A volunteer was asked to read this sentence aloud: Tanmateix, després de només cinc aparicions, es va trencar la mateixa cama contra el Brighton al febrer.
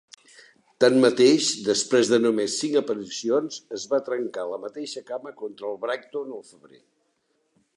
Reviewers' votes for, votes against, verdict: 2, 1, accepted